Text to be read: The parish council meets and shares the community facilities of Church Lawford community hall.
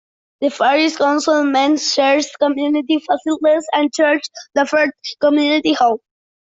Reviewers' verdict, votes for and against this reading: rejected, 0, 2